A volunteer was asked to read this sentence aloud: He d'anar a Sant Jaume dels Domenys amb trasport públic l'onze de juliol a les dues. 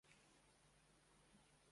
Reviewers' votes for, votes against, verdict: 0, 2, rejected